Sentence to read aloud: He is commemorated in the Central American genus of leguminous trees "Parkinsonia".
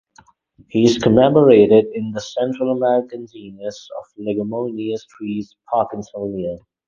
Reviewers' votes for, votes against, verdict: 2, 0, accepted